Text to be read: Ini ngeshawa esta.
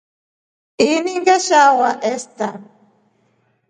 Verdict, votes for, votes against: accepted, 2, 0